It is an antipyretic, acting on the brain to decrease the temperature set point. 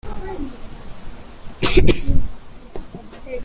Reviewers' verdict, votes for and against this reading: rejected, 0, 2